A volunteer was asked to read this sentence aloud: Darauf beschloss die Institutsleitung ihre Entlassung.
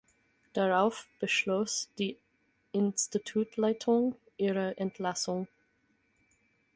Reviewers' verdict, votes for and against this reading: rejected, 2, 4